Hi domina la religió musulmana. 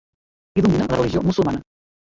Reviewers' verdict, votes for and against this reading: rejected, 0, 2